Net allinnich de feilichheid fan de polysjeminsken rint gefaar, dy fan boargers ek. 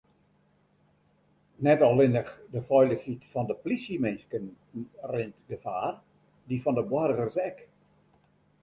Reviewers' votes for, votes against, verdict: 1, 2, rejected